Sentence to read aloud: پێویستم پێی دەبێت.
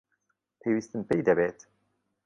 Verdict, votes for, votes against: accepted, 2, 0